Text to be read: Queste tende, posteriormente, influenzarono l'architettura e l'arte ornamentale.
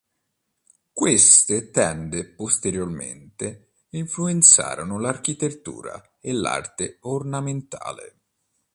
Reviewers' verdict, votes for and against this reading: accepted, 2, 0